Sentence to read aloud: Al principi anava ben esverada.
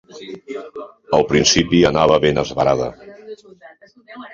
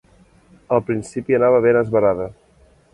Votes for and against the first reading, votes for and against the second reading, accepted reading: 1, 2, 2, 0, second